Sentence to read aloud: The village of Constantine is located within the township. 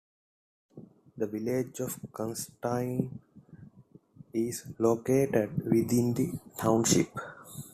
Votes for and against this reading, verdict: 0, 2, rejected